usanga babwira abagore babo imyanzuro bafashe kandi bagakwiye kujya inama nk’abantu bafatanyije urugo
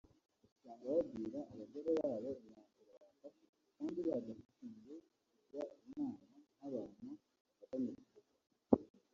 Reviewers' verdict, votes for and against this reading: rejected, 1, 2